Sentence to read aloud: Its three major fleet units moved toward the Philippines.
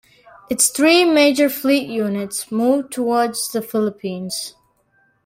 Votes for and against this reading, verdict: 0, 2, rejected